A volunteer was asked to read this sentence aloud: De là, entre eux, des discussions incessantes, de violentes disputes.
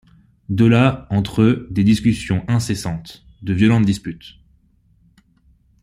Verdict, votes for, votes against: accepted, 2, 0